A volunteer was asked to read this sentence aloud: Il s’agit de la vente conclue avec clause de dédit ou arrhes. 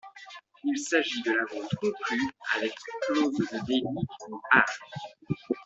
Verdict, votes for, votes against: rejected, 0, 2